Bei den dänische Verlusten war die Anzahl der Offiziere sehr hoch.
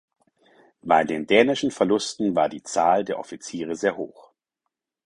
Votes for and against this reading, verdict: 2, 4, rejected